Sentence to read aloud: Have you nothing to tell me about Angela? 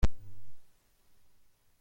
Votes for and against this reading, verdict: 0, 2, rejected